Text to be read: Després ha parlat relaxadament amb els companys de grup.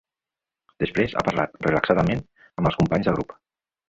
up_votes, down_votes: 0, 2